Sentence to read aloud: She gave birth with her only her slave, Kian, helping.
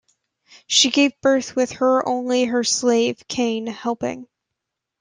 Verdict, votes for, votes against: accepted, 2, 0